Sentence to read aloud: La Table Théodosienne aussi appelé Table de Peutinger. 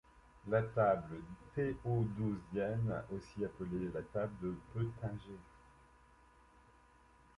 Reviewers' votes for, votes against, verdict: 0, 2, rejected